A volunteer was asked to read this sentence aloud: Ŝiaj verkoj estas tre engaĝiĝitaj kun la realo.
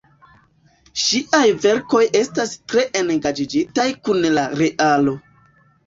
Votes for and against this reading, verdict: 1, 2, rejected